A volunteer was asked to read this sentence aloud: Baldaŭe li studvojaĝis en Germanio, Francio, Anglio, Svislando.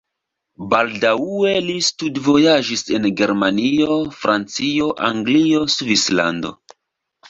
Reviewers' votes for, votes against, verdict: 1, 2, rejected